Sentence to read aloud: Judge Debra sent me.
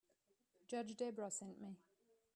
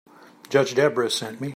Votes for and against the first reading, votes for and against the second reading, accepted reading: 0, 2, 2, 0, second